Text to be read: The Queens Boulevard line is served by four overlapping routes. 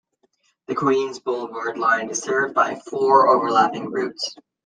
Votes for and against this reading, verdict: 2, 0, accepted